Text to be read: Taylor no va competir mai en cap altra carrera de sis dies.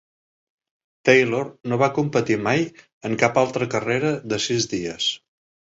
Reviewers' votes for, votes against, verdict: 1, 2, rejected